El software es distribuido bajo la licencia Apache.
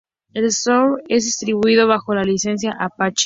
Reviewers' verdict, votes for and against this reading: rejected, 0, 2